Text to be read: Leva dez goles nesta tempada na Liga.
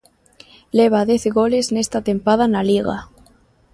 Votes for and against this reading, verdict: 2, 0, accepted